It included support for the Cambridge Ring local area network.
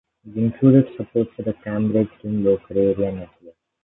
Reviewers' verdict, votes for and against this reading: rejected, 0, 2